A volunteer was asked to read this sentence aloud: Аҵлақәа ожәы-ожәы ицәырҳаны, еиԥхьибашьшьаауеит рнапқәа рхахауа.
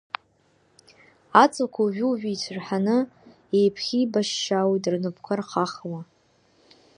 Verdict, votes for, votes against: accepted, 2, 0